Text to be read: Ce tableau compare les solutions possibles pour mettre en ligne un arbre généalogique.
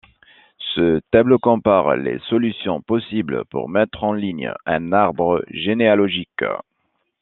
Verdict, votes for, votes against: accepted, 2, 0